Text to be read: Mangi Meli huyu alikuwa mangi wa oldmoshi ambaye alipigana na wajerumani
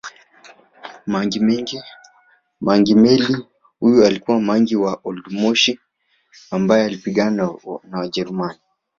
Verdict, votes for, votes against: rejected, 1, 3